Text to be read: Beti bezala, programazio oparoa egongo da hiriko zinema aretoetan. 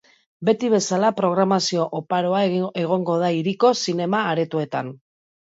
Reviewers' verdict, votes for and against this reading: rejected, 0, 3